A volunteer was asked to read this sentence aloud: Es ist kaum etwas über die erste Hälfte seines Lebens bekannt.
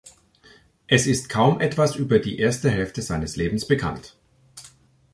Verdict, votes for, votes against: accepted, 2, 0